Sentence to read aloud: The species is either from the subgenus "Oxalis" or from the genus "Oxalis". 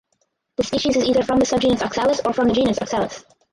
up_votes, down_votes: 0, 4